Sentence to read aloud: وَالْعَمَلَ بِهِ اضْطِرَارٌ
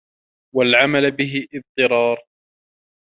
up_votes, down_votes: 2, 1